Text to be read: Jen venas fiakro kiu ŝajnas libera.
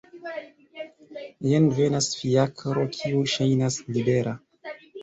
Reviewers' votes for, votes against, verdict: 2, 1, accepted